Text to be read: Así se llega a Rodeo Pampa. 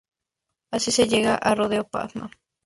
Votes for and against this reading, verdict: 0, 2, rejected